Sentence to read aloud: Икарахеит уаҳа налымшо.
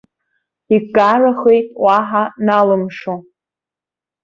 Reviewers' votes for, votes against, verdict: 2, 0, accepted